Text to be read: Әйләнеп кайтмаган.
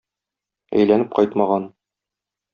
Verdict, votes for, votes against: accepted, 2, 0